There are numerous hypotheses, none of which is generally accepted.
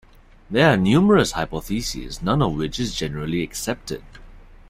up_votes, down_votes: 1, 2